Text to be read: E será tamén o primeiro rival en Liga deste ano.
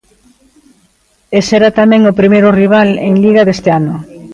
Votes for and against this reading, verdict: 1, 2, rejected